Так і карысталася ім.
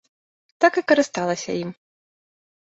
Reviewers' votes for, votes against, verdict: 2, 0, accepted